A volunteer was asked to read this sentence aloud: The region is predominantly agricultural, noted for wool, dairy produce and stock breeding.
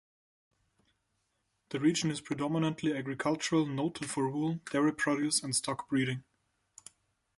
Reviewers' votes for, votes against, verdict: 2, 0, accepted